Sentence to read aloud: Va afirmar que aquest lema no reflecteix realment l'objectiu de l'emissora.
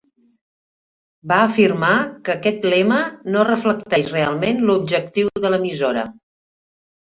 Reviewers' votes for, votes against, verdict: 4, 1, accepted